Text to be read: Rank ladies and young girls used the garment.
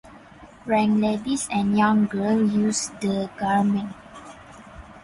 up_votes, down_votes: 0, 4